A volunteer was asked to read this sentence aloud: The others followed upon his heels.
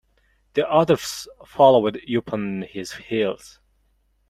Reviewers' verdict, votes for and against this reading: rejected, 0, 2